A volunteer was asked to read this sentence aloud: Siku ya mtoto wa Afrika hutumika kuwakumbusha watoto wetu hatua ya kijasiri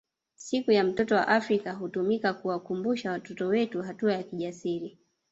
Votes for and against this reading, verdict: 1, 2, rejected